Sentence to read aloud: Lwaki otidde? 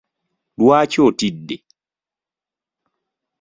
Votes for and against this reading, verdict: 2, 0, accepted